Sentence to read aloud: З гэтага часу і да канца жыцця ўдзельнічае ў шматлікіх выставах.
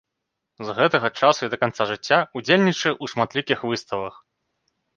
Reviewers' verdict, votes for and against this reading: rejected, 1, 2